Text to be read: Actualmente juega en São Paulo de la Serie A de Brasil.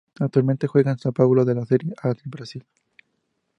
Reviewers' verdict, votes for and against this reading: rejected, 2, 2